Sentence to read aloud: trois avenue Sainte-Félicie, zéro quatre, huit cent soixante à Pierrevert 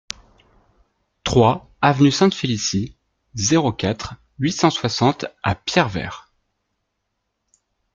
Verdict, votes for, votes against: accepted, 2, 0